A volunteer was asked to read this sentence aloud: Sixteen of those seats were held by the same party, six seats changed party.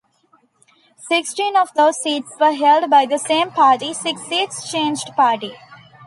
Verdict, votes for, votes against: accepted, 2, 0